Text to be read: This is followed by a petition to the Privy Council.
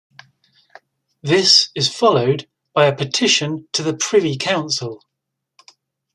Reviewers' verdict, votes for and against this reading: accepted, 2, 0